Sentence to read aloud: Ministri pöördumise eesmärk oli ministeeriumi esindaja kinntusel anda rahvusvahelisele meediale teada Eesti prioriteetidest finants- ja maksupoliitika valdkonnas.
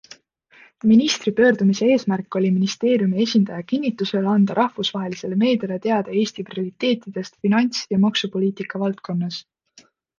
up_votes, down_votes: 2, 0